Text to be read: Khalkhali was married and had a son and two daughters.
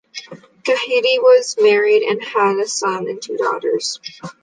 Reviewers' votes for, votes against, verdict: 1, 2, rejected